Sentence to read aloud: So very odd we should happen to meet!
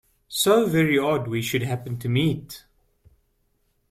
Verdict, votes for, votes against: accepted, 2, 0